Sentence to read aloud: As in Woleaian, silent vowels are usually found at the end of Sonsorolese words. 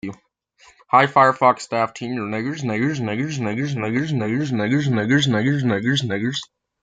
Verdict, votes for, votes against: rejected, 0, 2